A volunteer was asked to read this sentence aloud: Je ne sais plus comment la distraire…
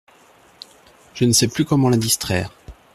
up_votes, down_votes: 2, 0